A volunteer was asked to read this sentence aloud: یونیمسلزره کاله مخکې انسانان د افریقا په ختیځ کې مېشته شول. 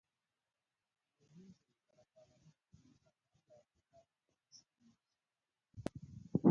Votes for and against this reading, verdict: 0, 2, rejected